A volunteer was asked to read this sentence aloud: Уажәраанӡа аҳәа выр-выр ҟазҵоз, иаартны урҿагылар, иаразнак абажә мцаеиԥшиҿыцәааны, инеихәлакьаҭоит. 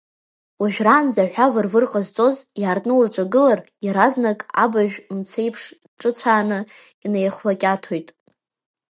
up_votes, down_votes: 2, 1